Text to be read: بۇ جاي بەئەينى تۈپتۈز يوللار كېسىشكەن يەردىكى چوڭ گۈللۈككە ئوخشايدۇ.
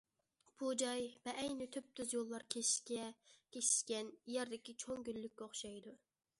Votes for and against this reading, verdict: 0, 2, rejected